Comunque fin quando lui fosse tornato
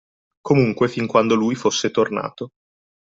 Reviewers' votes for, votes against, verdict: 2, 0, accepted